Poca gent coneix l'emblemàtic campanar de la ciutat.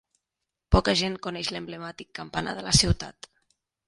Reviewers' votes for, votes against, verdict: 2, 0, accepted